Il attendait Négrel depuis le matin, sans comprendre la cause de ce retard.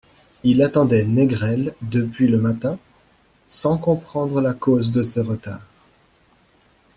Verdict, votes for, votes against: accepted, 2, 0